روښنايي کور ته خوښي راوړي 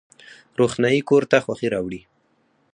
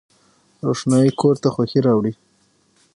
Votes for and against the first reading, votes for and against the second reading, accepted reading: 0, 4, 6, 0, second